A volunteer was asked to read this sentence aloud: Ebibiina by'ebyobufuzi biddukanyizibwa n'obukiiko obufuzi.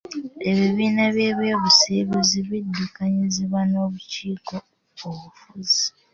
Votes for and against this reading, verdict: 0, 2, rejected